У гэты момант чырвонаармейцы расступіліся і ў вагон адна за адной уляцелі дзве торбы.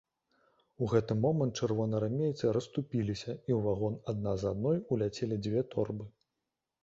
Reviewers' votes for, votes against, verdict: 2, 1, accepted